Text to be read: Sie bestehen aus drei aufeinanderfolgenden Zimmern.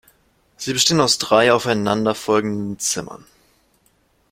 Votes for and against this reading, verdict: 2, 0, accepted